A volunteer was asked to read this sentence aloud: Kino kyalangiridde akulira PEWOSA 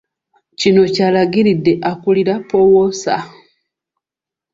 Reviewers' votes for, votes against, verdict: 0, 2, rejected